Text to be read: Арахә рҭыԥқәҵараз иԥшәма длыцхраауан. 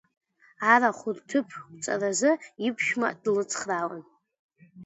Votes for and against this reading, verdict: 2, 1, accepted